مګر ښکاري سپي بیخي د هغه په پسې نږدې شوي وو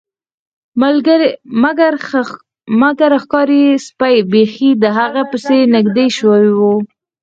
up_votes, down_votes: 0, 4